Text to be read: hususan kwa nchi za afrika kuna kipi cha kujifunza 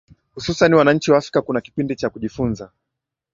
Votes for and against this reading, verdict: 2, 0, accepted